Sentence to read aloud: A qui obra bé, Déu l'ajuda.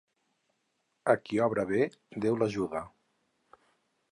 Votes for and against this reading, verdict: 4, 0, accepted